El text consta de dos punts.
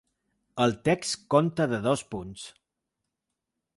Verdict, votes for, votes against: rejected, 0, 2